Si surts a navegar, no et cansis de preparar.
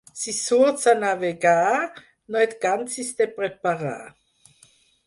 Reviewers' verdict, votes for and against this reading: accepted, 6, 0